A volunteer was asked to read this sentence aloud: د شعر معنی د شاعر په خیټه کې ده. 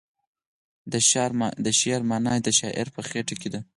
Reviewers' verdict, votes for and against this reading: accepted, 4, 0